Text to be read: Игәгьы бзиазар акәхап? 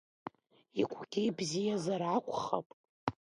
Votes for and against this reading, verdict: 2, 1, accepted